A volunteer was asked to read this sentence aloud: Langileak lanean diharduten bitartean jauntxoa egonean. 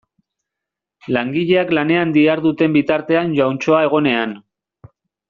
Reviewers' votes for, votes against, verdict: 2, 0, accepted